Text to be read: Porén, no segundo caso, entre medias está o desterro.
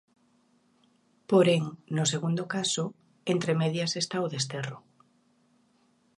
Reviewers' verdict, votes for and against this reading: accepted, 2, 0